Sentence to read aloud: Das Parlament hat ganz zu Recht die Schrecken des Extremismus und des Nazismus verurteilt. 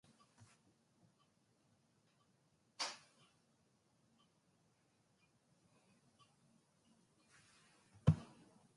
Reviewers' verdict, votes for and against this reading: rejected, 0, 2